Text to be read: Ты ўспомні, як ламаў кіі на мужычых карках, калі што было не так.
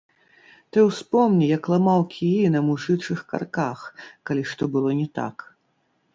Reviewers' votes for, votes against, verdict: 0, 2, rejected